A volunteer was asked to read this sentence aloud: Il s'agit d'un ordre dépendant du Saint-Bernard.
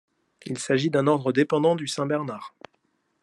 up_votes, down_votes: 2, 0